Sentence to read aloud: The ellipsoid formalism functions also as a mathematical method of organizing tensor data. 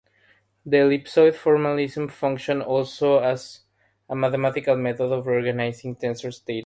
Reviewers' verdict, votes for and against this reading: rejected, 0, 3